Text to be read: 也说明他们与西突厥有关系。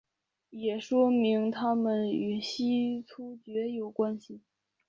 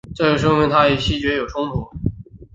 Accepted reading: first